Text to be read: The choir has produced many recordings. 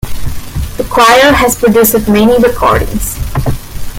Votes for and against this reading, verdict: 2, 1, accepted